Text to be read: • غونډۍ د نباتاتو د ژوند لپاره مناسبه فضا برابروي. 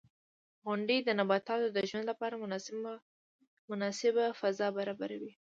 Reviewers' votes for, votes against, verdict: 2, 0, accepted